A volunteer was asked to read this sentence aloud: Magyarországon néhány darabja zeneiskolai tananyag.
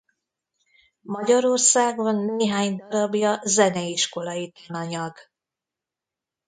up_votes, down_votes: 1, 2